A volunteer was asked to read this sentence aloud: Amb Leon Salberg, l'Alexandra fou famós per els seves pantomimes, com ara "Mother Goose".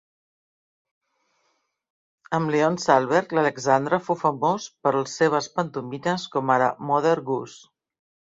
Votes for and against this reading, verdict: 1, 2, rejected